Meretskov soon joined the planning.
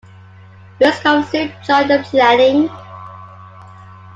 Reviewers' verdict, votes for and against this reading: rejected, 0, 2